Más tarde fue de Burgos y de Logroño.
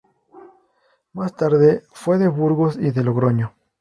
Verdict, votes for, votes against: accepted, 4, 0